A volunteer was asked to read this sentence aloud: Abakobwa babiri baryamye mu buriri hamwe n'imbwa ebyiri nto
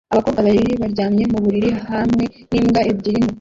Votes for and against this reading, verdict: 0, 2, rejected